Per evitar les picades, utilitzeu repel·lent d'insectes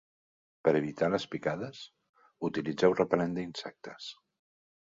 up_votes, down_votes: 2, 0